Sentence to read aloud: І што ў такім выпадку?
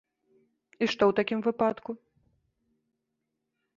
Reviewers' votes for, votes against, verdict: 1, 2, rejected